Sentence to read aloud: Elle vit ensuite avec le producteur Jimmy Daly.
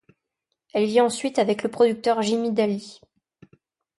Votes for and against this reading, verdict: 2, 0, accepted